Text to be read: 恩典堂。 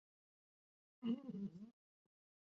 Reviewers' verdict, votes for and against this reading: rejected, 0, 3